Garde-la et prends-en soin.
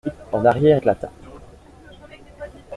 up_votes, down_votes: 0, 2